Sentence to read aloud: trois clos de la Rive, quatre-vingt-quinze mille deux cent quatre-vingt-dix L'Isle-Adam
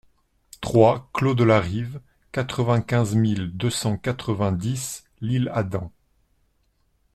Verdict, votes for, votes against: accepted, 2, 0